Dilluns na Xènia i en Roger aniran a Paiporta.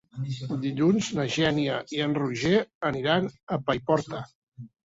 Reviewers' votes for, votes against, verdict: 2, 0, accepted